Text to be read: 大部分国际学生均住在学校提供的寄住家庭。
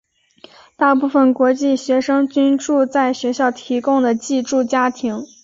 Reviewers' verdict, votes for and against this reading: accepted, 7, 1